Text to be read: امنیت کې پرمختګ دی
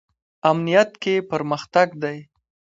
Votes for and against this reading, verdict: 2, 1, accepted